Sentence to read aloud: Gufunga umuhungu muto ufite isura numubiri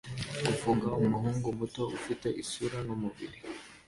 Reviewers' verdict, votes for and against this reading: rejected, 1, 2